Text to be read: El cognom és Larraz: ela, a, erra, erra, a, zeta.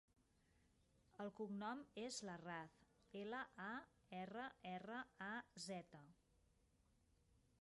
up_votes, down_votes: 0, 2